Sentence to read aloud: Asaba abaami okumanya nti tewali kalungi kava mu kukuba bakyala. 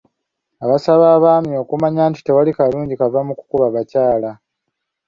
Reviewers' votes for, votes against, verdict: 2, 3, rejected